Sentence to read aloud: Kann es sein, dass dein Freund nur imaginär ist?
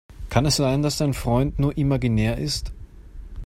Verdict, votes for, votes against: accepted, 2, 0